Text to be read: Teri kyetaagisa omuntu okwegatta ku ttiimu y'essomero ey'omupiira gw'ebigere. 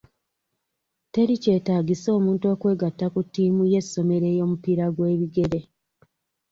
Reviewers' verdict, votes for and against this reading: accepted, 2, 1